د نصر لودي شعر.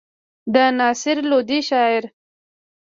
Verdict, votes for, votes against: accepted, 2, 1